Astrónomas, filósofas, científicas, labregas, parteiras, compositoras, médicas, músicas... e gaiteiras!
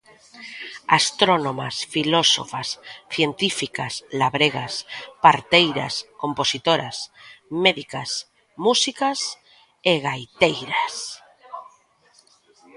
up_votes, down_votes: 2, 0